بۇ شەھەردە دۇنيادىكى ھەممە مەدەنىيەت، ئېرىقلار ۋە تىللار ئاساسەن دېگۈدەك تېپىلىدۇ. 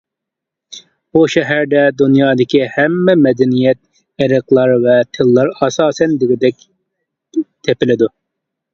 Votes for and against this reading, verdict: 2, 1, accepted